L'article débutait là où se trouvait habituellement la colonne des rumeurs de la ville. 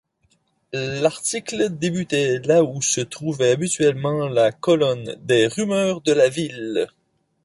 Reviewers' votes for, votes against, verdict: 2, 0, accepted